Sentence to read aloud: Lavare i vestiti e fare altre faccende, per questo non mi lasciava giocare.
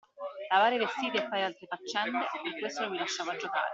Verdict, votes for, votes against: rejected, 0, 2